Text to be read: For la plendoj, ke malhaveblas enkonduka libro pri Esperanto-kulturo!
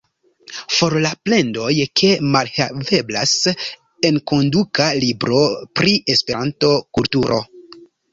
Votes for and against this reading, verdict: 2, 0, accepted